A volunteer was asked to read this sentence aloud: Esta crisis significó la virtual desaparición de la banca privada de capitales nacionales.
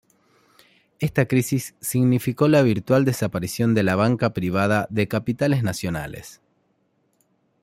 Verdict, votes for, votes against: accepted, 2, 0